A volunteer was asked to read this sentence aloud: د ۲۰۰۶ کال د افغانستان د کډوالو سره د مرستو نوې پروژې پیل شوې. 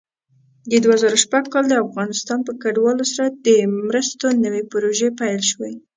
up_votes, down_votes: 0, 2